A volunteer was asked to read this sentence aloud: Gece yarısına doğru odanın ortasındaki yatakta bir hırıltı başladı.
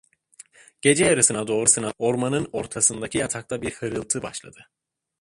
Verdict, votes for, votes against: rejected, 1, 2